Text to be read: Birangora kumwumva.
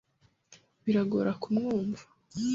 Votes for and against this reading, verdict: 1, 2, rejected